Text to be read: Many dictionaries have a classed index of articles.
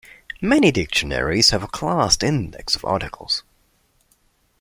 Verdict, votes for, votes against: accepted, 2, 0